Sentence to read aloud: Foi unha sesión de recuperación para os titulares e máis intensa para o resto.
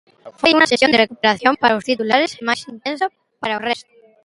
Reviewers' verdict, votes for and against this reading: rejected, 0, 2